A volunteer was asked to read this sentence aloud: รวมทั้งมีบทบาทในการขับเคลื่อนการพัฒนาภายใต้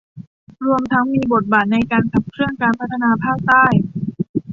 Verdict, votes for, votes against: rejected, 0, 2